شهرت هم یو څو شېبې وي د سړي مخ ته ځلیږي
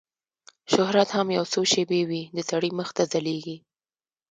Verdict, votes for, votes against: accepted, 2, 0